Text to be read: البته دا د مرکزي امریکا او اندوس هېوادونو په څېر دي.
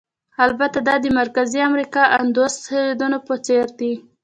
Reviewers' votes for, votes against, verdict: 2, 0, accepted